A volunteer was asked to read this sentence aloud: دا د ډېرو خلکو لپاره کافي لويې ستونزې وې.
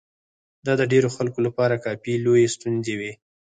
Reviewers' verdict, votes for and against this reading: rejected, 0, 4